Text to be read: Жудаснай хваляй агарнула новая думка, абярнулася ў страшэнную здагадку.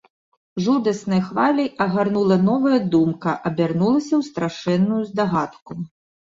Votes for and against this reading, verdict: 2, 0, accepted